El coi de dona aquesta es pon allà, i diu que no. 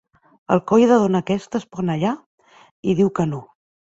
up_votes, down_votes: 5, 0